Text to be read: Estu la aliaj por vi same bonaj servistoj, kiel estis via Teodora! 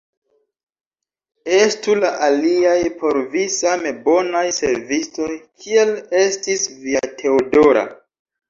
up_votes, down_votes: 1, 2